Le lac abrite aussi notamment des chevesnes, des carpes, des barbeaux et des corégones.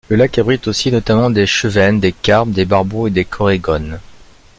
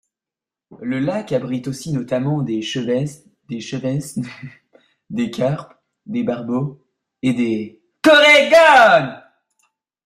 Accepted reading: first